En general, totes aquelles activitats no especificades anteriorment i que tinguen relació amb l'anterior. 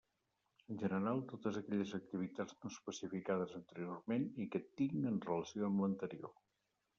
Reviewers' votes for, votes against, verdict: 1, 2, rejected